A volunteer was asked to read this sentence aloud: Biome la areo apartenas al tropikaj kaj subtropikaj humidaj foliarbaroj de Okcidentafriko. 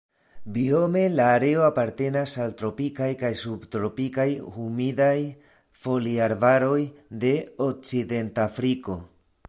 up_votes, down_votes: 2, 1